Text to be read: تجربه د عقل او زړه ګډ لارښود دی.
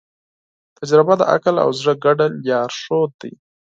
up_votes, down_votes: 4, 0